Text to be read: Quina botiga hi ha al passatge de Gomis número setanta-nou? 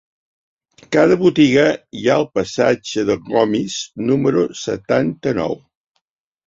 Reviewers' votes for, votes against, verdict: 1, 2, rejected